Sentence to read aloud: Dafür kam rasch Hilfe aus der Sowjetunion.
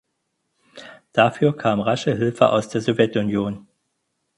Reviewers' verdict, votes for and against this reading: rejected, 0, 4